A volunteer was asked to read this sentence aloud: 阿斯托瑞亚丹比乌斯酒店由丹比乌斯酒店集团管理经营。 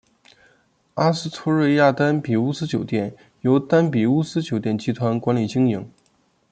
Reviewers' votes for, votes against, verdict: 2, 0, accepted